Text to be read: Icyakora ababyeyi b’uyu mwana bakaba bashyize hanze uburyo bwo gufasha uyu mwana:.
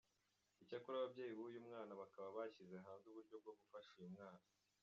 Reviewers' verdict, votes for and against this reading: rejected, 1, 2